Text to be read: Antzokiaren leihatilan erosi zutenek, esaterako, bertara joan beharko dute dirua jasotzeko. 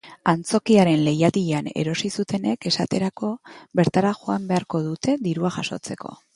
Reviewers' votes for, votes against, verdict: 2, 0, accepted